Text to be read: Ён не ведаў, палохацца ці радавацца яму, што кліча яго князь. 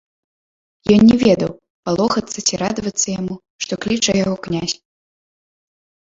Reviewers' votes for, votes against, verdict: 1, 2, rejected